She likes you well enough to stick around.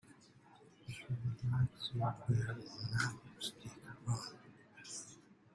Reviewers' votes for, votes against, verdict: 0, 2, rejected